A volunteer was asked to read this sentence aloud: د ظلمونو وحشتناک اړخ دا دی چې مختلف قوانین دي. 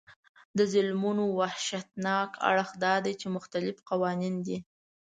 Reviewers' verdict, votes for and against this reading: accepted, 2, 0